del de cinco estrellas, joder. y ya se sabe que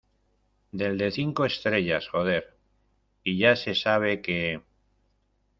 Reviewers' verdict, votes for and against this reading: accepted, 2, 1